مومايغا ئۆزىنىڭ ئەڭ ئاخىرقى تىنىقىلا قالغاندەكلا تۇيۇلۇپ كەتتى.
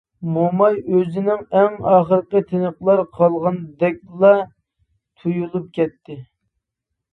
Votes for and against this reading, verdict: 0, 2, rejected